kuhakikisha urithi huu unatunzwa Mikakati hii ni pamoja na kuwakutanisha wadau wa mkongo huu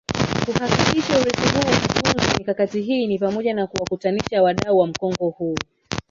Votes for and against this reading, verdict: 0, 2, rejected